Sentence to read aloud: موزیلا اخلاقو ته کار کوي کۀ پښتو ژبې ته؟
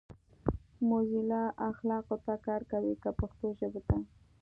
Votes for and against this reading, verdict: 2, 0, accepted